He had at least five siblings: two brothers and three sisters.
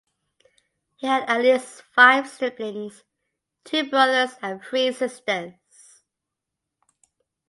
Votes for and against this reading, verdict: 2, 0, accepted